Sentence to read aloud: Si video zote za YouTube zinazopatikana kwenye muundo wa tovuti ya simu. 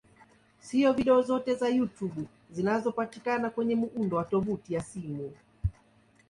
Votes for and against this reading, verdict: 2, 1, accepted